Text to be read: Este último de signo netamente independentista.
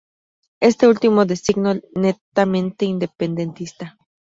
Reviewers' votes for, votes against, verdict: 2, 0, accepted